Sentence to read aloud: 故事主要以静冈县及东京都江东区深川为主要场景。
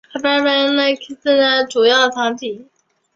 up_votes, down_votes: 0, 2